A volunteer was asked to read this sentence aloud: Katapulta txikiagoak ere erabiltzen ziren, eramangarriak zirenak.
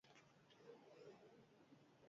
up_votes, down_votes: 0, 4